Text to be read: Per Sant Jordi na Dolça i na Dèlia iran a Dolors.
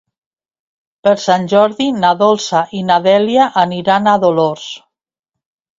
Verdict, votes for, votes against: rejected, 0, 2